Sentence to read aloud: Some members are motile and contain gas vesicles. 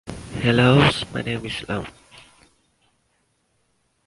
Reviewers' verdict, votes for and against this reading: rejected, 0, 2